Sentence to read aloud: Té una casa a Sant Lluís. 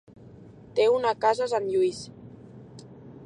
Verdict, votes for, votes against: accepted, 2, 0